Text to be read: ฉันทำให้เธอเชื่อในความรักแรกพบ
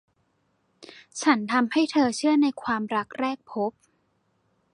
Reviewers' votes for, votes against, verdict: 2, 0, accepted